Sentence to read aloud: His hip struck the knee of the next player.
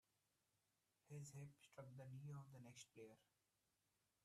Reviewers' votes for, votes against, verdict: 0, 2, rejected